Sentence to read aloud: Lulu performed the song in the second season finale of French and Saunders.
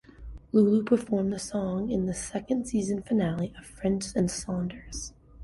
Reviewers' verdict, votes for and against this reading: accepted, 2, 0